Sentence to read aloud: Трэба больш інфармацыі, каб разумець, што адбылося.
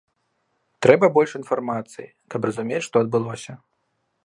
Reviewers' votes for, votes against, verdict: 2, 0, accepted